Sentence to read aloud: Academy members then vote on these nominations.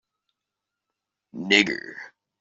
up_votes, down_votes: 0, 2